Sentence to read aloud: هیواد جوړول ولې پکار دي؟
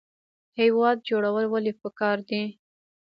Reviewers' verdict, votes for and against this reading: rejected, 1, 2